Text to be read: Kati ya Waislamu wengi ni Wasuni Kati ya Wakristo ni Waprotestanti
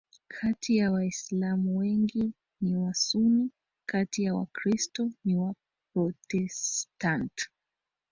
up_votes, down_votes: 0, 2